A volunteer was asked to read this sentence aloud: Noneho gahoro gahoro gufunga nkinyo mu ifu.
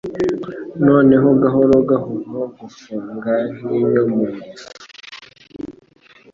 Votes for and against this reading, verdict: 2, 0, accepted